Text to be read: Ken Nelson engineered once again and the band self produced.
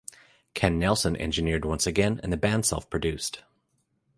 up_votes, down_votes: 3, 0